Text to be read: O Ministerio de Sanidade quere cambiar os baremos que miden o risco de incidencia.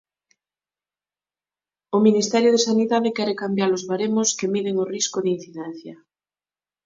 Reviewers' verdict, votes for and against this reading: accepted, 9, 0